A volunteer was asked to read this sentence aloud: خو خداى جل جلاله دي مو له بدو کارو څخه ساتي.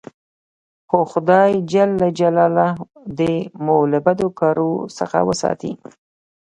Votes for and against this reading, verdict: 0, 2, rejected